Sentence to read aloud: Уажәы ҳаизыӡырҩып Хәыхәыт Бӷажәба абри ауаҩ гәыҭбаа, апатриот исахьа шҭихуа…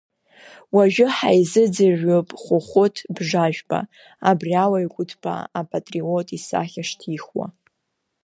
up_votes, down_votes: 0, 2